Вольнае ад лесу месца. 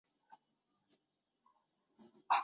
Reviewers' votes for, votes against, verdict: 0, 2, rejected